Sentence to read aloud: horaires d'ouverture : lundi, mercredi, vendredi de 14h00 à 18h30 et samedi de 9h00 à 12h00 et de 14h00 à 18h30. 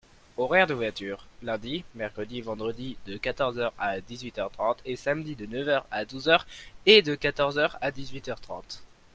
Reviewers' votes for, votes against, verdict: 0, 2, rejected